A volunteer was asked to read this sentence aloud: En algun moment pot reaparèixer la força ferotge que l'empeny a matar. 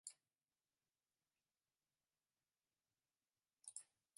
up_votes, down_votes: 0, 2